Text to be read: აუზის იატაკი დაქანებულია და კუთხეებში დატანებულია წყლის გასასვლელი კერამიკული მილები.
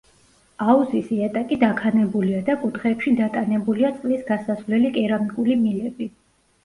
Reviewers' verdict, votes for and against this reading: accepted, 2, 0